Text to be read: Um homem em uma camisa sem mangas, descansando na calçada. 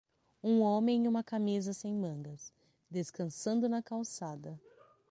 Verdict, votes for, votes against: accepted, 6, 0